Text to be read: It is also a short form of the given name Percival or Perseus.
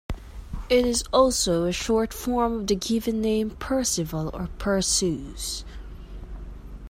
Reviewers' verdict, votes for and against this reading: accepted, 2, 1